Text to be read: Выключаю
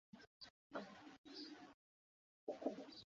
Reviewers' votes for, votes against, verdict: 0, 2, rejected